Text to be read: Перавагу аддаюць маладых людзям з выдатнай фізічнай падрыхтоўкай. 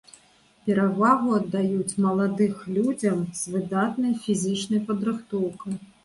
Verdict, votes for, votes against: accepted, 2, 0